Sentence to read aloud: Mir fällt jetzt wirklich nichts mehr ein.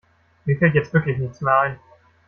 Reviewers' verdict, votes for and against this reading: rejected, 1, 2